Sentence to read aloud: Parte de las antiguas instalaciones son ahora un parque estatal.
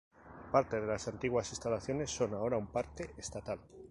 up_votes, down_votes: 4, 0